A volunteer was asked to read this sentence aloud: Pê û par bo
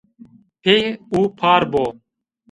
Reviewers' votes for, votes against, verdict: 2, 0, accepted